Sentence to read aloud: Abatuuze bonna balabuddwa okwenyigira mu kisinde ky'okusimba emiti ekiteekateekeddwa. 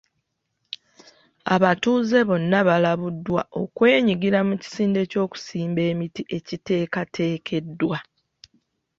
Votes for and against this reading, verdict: 3, 0, accepted